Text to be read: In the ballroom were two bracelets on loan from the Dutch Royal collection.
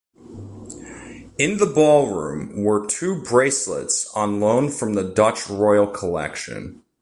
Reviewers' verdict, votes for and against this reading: accepted, 2, 0